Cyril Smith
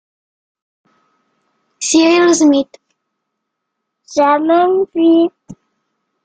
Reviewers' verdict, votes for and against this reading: rejected, 0, 2